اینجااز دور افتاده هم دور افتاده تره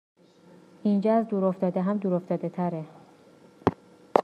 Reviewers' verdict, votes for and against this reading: accepted, 2, 0